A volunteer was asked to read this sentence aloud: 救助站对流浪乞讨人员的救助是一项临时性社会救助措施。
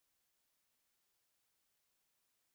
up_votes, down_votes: 0, 4